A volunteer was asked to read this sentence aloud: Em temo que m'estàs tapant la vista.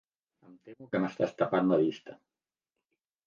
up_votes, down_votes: 0, 2